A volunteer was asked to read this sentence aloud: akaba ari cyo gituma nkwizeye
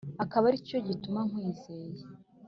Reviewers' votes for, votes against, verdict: 2, 0, accepted